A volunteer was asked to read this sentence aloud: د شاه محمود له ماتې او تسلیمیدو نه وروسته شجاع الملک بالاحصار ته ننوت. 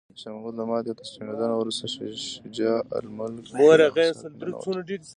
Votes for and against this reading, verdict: 2, 0, accepted